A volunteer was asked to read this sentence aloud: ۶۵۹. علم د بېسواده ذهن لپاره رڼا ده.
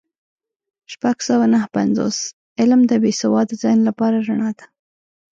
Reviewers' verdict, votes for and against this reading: rejected, 0, 2